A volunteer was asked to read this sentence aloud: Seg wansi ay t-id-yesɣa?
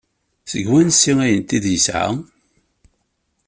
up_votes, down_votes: 2, 0